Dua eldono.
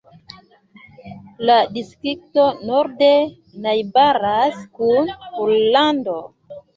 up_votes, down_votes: 0, 2